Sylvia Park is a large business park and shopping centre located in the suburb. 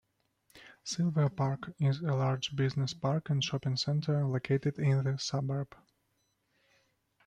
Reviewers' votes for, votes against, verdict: 0, 2, rejected